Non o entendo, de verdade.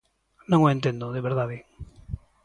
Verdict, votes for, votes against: accepted, 2, 0